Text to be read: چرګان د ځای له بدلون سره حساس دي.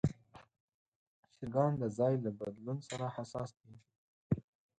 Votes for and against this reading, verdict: 4, 2, accepted